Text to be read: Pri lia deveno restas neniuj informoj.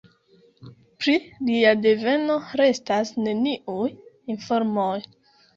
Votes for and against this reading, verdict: 2, 1, accepted